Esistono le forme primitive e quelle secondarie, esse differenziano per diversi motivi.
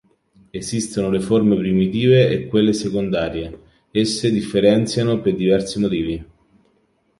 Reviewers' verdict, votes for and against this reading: accepted, 2, 0